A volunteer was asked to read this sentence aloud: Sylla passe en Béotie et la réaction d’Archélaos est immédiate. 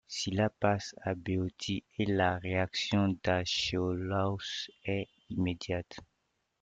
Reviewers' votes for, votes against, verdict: 2, 0, accepted